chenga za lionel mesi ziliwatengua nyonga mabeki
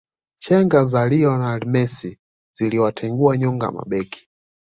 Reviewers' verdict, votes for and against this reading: accepted, 2, 0